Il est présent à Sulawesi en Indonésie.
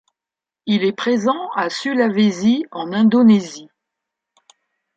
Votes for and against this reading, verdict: 1, 2, rejected